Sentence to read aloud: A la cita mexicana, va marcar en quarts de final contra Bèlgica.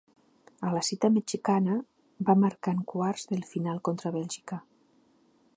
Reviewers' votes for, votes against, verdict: 2, 0, accepted